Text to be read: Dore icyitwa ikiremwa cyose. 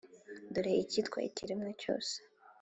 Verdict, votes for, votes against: accepted, 3, 0